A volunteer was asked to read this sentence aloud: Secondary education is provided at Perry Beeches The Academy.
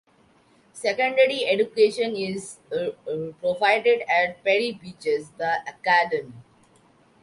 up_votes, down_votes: 0, 2